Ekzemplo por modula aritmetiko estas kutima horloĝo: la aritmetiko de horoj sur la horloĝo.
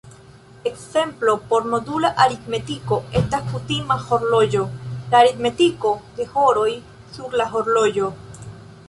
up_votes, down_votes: 0, 2